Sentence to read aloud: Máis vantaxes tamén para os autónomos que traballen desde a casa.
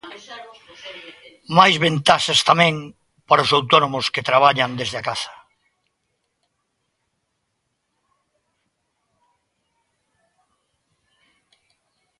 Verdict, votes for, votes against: rejected, 0, 2